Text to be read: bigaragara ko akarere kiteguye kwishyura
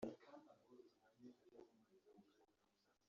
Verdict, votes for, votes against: rejected, 0, 2